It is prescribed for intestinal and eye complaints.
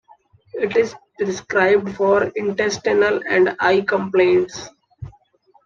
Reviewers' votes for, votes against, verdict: 2, 1, accepted